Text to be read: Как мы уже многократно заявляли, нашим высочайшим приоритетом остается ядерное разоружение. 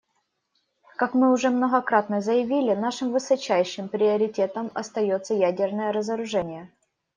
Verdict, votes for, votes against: rejected, 0, 2